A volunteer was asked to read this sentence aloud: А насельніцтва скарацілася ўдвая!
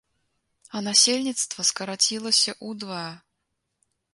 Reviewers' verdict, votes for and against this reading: rejected, 0, 2